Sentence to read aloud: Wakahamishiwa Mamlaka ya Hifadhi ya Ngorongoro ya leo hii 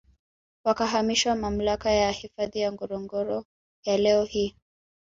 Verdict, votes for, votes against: accepted, 2, 1